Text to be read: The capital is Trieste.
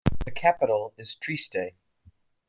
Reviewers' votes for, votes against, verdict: 1, 2, rejected